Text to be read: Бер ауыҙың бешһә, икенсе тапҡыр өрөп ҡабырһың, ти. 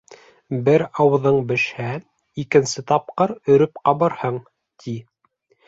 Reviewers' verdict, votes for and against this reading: accepted, 2, 0